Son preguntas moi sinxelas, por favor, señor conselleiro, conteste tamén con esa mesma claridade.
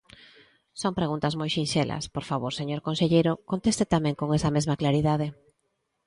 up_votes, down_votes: 2, 0